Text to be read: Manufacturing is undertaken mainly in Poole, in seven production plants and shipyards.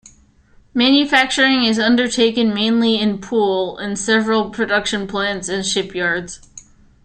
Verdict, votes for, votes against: rejected, 1, 2